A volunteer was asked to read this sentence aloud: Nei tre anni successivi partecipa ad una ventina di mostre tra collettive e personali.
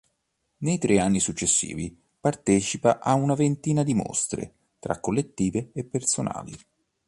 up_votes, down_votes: 1, 2